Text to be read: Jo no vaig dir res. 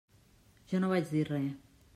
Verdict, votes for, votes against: accepted, 2, 0